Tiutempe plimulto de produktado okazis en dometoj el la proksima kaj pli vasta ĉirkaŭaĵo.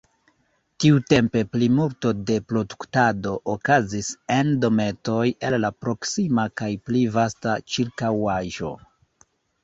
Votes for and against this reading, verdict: 0, 2, rejected